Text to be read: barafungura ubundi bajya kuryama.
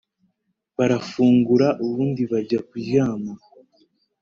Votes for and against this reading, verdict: 3, 0, accepted